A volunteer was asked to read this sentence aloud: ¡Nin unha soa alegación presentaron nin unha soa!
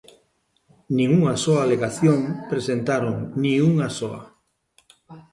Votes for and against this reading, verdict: 2, 1, accepted